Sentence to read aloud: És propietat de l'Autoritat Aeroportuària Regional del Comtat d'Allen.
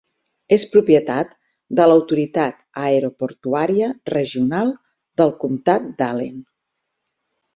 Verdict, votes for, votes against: accepted, 6, 0